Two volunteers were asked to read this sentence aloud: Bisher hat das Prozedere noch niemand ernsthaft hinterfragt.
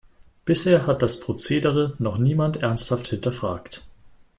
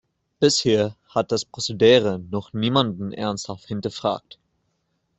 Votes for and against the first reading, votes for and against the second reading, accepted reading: 2, 0, 1, 2, first